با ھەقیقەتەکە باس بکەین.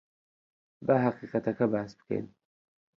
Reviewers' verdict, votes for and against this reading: accepted, 2, 0